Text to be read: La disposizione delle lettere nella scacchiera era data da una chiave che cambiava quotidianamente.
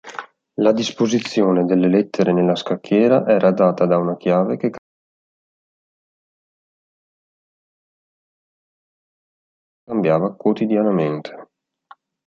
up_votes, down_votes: 1, 2